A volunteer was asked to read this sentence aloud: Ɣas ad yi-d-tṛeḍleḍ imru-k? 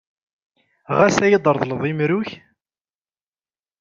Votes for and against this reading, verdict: 2, 0, accepted